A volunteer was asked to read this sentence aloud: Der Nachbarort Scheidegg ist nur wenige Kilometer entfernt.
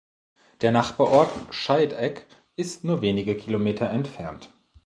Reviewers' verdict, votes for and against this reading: accepted, 2, 0